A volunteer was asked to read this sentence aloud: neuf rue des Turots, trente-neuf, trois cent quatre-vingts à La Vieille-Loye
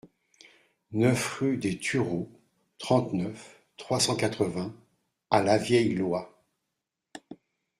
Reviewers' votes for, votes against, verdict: 2, 0, accepted